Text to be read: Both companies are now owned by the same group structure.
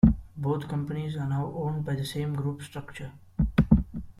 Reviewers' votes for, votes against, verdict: 2, 0, accepted